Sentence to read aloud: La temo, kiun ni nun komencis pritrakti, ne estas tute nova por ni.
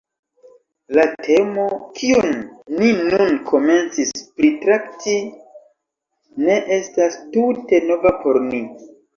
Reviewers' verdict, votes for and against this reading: rejected, 1, 2